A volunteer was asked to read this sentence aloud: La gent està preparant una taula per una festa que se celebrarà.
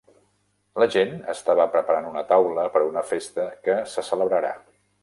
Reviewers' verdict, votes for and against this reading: rejected, 0, 2